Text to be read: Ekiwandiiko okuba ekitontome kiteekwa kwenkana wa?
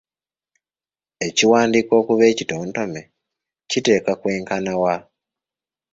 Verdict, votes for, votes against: accepted, 2, 0